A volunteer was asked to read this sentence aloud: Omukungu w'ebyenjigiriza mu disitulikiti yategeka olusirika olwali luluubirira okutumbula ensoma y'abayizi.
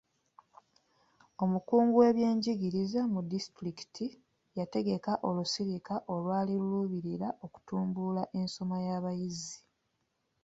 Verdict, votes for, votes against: accepted, 2, 0